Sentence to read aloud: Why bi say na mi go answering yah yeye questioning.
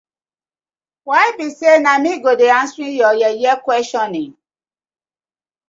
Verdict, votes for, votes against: accepted, 2, 0